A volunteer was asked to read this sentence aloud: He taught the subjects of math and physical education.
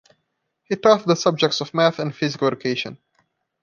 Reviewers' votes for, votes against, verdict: 2, 0, accepted